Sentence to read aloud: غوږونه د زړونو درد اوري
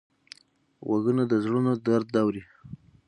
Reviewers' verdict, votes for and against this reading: rejected, 0, 6